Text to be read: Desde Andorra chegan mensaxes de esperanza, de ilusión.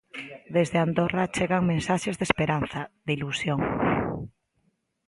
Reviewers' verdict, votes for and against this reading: accepted, 2, 0